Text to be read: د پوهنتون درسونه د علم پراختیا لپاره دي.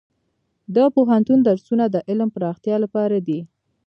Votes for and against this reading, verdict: 2, 0, accepted